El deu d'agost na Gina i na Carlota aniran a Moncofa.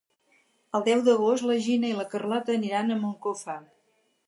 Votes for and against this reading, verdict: 2, 4, rejected